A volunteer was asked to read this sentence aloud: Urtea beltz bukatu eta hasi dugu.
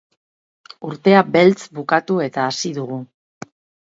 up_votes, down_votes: 8, 0